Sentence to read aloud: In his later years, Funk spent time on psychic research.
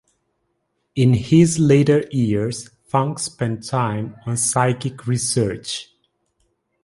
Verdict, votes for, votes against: accepted, 2, 0